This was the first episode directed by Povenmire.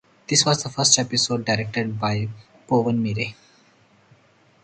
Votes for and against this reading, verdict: 4, 0, accepted